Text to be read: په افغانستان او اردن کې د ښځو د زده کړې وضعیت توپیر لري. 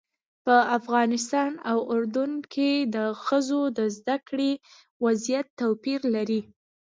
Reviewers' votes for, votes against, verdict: 2, 0, accepted